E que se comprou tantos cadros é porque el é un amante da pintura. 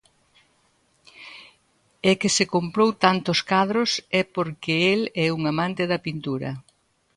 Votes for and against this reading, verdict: 2, 0, accepted